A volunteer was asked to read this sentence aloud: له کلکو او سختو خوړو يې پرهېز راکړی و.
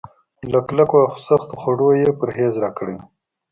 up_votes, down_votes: 2, 0